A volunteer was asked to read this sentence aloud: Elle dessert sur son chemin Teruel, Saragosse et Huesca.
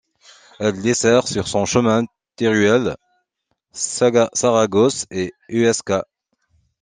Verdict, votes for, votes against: rejected, 1, 2